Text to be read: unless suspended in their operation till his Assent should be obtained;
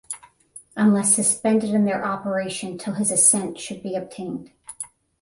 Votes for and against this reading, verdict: 10, 0, accepted